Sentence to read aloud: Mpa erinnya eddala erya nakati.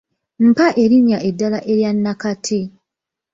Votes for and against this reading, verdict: 2, 1, accepted